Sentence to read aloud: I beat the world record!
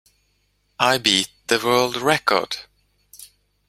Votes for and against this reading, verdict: 2, 0, accepted